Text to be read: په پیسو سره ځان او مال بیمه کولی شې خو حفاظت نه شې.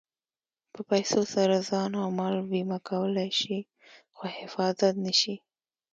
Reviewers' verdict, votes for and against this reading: accepted, 2, 0